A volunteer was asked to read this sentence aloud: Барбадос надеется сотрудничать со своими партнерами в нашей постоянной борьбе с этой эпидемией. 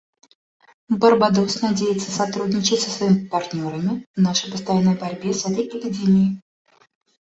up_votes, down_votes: 1, 2